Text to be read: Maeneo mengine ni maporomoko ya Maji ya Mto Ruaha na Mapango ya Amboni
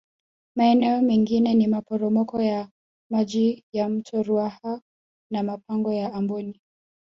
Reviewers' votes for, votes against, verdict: 2, 0, accepted